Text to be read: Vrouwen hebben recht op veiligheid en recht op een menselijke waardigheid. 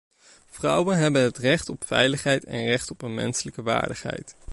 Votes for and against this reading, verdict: 0, 2, rejected